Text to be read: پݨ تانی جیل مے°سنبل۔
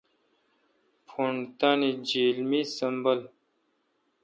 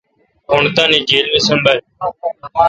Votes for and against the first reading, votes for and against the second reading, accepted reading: 0, 2, 3, 0, second